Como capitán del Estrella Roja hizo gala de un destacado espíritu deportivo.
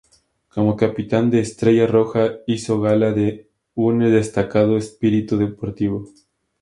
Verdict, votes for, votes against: rejected, 0, 2